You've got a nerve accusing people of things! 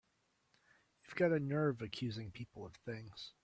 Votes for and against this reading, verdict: 2, 0, accepted